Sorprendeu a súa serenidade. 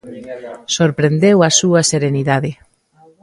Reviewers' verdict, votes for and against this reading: rejected, 0, 2